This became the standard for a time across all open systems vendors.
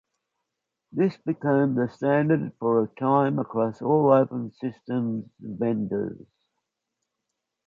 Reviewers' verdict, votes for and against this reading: accepted, 3, 0